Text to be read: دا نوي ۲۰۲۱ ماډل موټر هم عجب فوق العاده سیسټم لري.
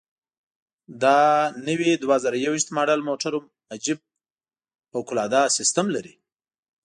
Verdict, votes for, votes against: rejected, 0, 2